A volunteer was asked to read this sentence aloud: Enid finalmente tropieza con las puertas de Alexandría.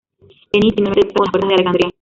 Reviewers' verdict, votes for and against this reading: rejected, 0, 2